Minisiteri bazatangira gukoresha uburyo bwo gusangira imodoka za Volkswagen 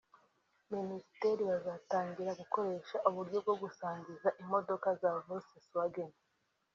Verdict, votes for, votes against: accepted, 2, 1